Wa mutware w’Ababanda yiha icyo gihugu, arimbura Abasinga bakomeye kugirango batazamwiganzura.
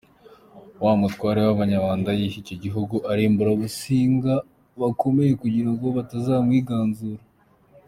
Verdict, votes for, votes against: accepted, 3, 1